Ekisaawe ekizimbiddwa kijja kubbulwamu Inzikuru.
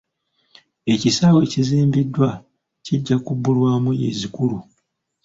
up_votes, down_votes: 1, 2